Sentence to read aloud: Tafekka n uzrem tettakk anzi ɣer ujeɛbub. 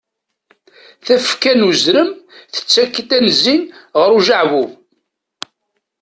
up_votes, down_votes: 1, 2